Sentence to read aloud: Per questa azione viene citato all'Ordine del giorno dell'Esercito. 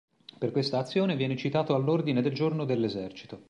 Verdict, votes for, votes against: accepted, 2, 0